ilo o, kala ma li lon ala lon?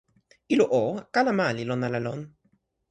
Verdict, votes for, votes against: accepted, 2, 0